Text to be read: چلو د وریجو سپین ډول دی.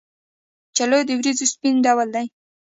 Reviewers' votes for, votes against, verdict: 0, 2, rejected